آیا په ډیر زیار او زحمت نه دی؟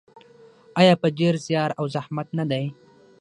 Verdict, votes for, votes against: rejected, 3, 6